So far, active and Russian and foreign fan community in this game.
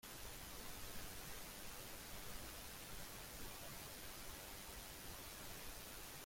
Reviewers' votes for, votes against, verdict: 0, 2, rejected